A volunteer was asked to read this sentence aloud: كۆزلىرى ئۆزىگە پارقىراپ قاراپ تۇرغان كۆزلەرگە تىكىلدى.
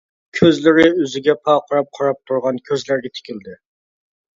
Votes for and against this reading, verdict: 2, 0, accepted